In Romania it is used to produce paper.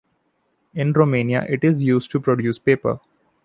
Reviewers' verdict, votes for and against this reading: accepted, 2, 0